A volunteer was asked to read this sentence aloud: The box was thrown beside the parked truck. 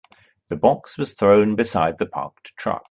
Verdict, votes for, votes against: accepted, 2, 1